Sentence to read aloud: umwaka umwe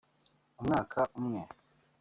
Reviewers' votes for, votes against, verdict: 1, 2, rejected